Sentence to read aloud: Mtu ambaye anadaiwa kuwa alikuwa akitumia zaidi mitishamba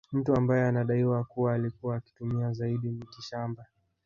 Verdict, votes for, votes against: accepted, 4, 0